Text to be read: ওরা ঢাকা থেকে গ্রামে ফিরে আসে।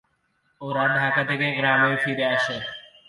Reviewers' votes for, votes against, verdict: 0, 2, rejected